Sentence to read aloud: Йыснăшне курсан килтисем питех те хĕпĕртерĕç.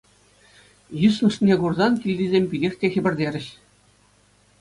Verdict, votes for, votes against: accepted, 2, 0